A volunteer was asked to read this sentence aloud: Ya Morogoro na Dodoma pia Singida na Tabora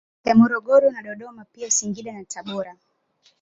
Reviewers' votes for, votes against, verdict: 2, 0, accepted